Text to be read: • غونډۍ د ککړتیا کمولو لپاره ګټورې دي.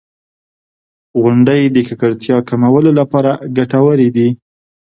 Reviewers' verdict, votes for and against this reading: accepted, 2, 0